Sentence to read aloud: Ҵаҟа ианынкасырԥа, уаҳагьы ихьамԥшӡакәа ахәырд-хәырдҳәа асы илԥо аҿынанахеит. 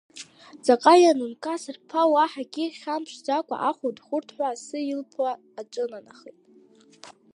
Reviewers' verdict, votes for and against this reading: rejected, 1, 2